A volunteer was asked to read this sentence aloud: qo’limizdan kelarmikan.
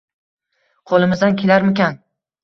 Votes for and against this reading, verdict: 1, 2, rejected